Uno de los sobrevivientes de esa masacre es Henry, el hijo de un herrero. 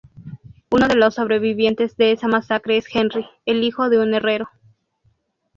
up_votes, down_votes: 0, 2